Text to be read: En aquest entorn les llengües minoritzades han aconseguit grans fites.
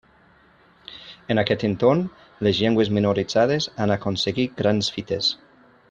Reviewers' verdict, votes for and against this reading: accepted, 3, 0